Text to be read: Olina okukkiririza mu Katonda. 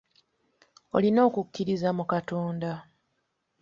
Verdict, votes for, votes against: accepted, 2, 0